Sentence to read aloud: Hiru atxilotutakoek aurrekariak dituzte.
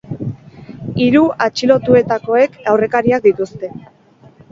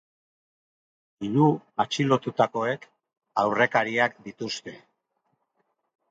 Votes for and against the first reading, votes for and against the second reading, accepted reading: 4, 4, 2, 0, second